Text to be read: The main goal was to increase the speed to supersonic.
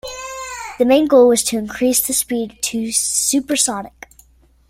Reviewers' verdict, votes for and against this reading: accepted, 2, 1